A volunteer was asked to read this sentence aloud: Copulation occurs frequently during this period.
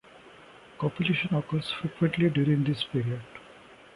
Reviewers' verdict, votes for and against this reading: accepted, 2, 1